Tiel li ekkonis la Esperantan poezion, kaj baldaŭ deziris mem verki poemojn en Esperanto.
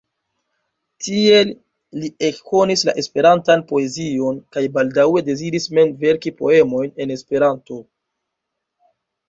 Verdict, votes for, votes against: rejected, 0, 2